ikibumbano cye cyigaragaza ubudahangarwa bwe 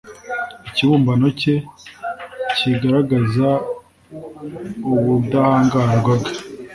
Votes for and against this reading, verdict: 3, 0, accepted